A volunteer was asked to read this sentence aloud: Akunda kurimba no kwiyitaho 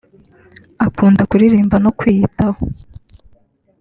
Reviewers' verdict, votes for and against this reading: rejected, 1, 2